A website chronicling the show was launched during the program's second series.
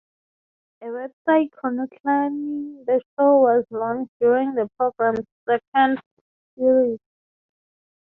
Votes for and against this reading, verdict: 0, 3, rejected